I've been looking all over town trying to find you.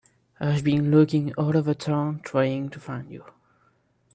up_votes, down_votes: 3, 1